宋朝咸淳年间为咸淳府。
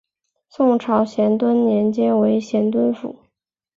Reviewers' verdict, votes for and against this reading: rejected, 1, 2